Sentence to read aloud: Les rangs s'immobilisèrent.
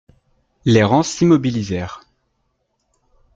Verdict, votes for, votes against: accepted, 2, 0